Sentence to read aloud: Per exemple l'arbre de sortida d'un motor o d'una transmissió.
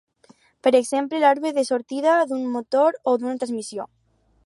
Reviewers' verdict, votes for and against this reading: rejected, 0, 2